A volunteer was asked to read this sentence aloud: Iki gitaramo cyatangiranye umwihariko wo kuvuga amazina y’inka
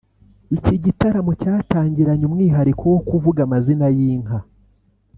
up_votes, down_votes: 2, 0